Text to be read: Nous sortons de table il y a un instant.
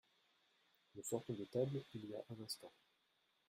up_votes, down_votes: 1, 2